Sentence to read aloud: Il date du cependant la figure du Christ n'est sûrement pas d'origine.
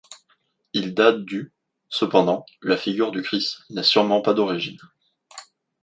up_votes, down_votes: 2, 0